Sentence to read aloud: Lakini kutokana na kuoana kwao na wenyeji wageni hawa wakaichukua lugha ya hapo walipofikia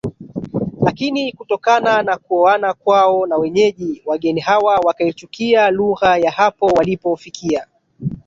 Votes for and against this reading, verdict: 1, 2, rejected